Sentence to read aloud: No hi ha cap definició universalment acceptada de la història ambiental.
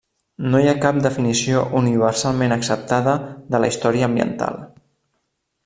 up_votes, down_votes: 2, 0